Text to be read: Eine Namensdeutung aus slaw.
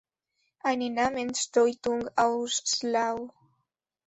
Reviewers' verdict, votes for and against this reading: rejected, 0, 2